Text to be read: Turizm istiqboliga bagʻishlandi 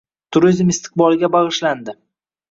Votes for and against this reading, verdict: 2, 0, accepted